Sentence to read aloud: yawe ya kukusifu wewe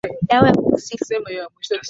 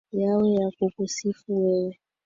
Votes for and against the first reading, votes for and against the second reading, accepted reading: 0, 2, 18, 0, second